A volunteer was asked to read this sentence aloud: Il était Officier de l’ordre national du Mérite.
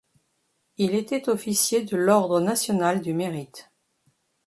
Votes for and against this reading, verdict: 2, 0, accepted